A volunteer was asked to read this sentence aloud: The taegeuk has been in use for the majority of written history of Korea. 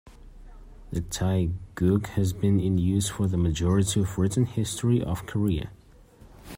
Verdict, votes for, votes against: accepted, 2, 1